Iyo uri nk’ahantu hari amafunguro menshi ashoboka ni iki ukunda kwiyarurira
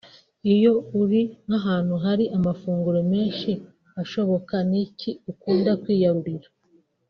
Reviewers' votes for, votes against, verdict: 3, 0, accepted